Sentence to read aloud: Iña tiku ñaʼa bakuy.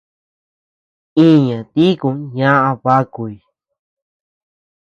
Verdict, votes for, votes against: accepted, 2, 0